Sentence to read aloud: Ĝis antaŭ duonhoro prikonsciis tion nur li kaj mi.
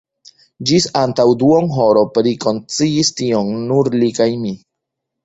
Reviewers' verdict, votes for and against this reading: rejected, 1, 2